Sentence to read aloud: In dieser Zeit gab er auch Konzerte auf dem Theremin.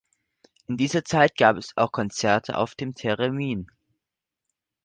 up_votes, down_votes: 0, 2